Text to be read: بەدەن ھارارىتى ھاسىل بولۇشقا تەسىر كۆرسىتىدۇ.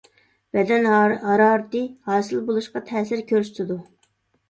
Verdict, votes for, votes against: rejected, 1, 2